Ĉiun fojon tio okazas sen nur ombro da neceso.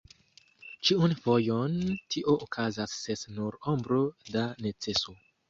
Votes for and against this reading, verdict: 1, 2, rejected